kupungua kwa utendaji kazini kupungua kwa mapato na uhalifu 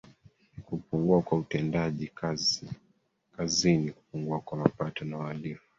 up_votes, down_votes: 0, 2